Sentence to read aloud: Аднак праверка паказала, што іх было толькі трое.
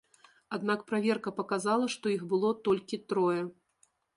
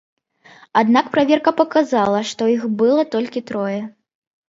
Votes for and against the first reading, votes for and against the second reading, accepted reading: 2, 0, 0, 2, first